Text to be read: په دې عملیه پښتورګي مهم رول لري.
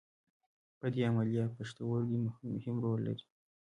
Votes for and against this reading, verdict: 2, 1, accepted